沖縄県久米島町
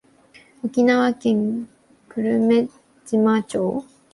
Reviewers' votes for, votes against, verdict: 2, 4, rejected